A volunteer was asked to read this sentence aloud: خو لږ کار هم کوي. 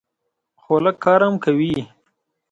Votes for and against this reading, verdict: 2, 0, accepted